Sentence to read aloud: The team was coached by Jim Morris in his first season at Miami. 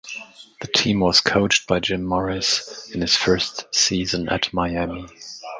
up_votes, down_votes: 2, 0